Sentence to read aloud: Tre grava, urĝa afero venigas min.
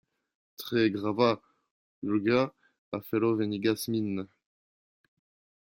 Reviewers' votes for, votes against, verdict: 0, 2, rejected